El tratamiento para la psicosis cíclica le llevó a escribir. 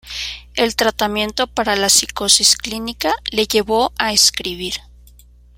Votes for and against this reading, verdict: 1, 2, rejected